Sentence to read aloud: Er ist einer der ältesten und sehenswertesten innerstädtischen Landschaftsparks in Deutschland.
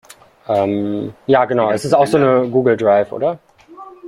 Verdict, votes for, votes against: rejected, 0, 2